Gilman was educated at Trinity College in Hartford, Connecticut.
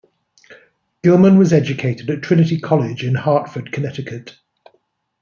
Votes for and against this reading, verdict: 2, 0, accepted